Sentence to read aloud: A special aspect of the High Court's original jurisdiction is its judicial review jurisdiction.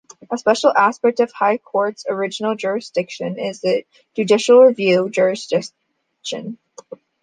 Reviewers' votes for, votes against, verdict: 0, 2, rejected